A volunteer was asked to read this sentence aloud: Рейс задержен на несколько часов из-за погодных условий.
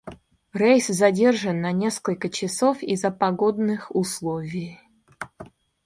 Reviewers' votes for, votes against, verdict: 2, 0, accepted